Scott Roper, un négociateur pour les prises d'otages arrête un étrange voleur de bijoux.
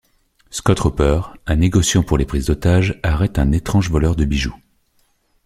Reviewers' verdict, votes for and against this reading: rejected, 1, 2